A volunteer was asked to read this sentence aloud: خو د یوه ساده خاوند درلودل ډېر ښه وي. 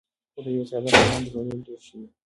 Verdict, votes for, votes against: rejected, 1, 2